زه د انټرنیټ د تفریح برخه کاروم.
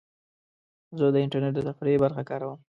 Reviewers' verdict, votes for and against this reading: accepted, 2, 0